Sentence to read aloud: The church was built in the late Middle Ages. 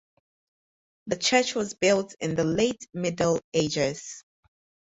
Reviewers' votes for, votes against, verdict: 4, 0, accepted